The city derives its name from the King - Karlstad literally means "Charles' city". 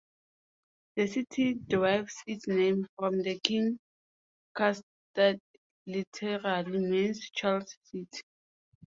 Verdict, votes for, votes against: accepted, 2, 0